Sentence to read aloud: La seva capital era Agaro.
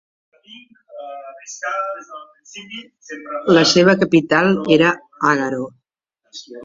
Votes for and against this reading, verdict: 0, 2, rejected